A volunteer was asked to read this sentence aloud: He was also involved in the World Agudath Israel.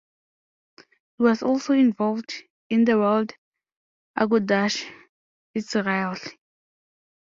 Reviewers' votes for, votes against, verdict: 0, 2, rejected